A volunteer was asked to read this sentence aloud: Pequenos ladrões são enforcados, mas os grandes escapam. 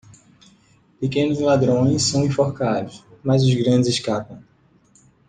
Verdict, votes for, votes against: accepted, 2, 0